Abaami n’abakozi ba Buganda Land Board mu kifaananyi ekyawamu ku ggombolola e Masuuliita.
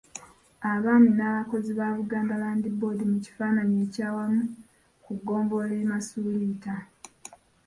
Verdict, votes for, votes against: accepted, 2, 1